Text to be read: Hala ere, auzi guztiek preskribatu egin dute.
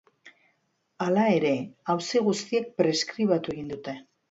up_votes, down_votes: 2, 1